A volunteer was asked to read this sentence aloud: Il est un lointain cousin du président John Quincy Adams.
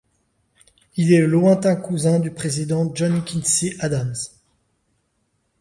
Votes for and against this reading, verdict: 1, 2, rejected